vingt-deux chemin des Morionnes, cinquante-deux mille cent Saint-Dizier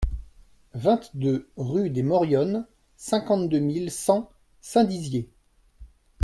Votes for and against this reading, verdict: 0, 2, rejected